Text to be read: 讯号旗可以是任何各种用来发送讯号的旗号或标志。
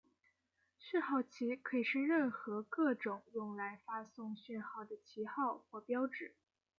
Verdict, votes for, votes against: accepted, 2, 0